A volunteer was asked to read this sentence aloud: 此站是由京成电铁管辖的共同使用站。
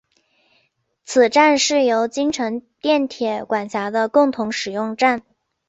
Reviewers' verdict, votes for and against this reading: accepted, 5, 2